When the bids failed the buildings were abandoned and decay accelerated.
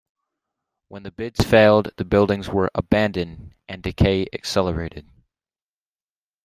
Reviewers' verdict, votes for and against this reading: accepted, 2, 0